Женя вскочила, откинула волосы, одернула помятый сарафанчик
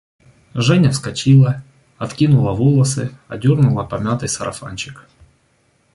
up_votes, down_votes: 2, 0